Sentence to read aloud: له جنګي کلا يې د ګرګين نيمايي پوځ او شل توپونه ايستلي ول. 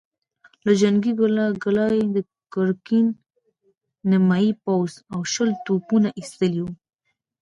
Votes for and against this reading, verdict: 2, 0, accepted